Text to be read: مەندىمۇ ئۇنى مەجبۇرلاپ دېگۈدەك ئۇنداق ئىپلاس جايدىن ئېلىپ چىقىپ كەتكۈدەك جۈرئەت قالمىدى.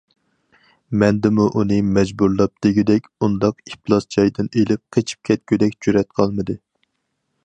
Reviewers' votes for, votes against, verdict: 2, 4, rejected